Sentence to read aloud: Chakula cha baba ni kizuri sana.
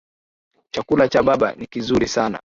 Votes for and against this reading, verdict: 2, 0, accepted